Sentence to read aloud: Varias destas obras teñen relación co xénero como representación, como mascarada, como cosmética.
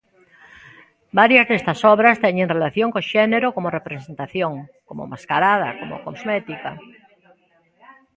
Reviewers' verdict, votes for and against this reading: rejected, 1, 2